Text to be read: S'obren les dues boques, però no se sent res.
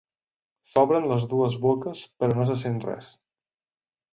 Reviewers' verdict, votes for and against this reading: rejected, 0, 2